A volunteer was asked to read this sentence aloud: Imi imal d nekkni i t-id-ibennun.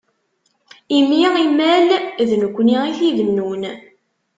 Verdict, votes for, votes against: rejected, 0, 2